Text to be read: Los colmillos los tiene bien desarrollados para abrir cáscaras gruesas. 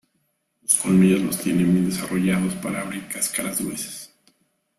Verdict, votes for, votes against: accepted, 2, 0